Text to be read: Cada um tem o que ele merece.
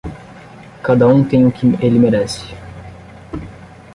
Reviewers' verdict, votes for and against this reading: rejected, 5, 10